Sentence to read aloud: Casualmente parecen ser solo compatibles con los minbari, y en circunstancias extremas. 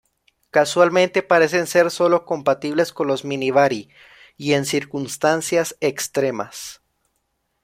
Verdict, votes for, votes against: rejected, 0, 2